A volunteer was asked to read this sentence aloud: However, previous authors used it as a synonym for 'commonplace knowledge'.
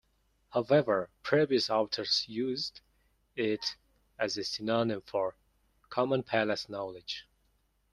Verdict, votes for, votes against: rejected, 0, 2